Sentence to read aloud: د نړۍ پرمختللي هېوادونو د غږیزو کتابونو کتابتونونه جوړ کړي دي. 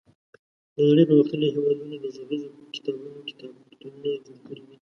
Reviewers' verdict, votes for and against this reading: rejected, 1, 2